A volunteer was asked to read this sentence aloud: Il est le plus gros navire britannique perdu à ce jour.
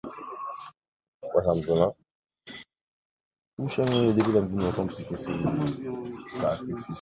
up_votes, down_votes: 0, 2